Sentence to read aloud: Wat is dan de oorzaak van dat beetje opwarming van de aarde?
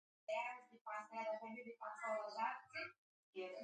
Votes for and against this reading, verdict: 0, 2, rejected